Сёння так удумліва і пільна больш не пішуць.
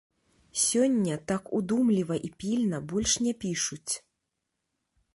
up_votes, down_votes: 2, 0